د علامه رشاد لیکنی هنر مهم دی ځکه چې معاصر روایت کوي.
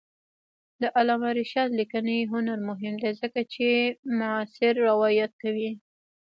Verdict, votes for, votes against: rejected, 0, 2